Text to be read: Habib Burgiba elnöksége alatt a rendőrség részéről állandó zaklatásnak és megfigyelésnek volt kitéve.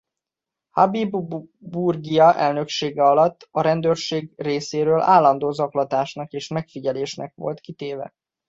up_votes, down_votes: 0, 2